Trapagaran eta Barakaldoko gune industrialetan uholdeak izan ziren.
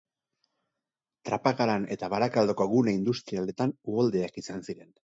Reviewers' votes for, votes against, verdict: 2, 2, rejected